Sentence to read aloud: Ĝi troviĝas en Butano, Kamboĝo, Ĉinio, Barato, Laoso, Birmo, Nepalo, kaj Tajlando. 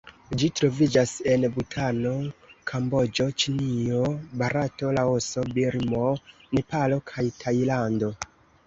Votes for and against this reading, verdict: 2, 1, accepted